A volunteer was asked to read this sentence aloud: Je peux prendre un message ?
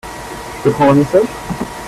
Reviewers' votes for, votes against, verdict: 2, 1, accepted